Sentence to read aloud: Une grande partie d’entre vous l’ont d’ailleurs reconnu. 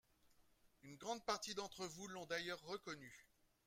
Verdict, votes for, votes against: accepted, 2, 0